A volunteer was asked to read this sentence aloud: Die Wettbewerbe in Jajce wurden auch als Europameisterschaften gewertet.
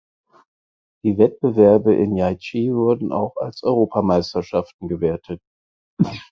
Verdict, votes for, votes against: rejected, 2, 4